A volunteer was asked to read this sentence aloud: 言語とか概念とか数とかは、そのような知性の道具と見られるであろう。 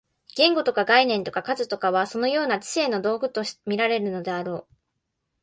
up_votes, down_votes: 0, 2